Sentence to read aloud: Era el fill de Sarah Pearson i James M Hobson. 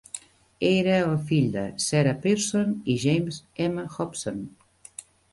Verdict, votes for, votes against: accepted, 3, 1